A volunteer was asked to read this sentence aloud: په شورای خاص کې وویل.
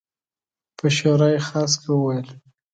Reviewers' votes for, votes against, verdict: 2, 0, accepted